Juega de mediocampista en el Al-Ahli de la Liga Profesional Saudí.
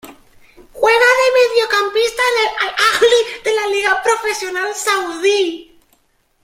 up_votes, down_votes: 1, 2